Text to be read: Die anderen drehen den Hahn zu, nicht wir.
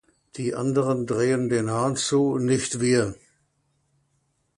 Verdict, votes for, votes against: accepted, 2, 0